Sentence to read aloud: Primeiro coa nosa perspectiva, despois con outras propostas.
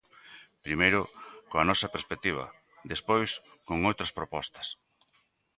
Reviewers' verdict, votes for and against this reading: accepted, 2, 0